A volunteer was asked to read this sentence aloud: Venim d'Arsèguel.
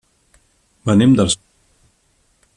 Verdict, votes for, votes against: rejected, 0, 2